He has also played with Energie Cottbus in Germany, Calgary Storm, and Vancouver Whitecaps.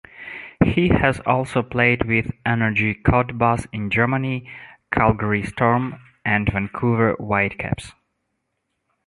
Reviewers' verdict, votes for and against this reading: accepted, 2, 0